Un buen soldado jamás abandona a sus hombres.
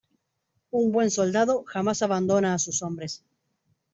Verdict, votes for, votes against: accepted, 2, 0